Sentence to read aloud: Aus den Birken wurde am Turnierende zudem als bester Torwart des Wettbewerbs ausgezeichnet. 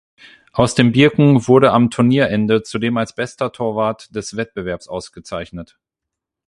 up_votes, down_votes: 8, 0